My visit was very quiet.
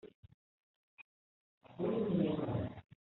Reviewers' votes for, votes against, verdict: 0, 2, rejected